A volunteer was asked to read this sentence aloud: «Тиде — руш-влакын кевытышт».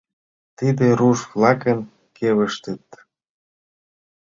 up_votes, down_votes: 1, 2